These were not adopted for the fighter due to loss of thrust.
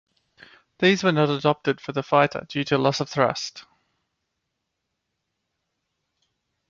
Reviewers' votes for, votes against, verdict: 2, 0, accepted